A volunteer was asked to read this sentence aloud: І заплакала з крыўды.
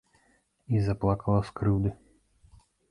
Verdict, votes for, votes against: accepted, 2, 0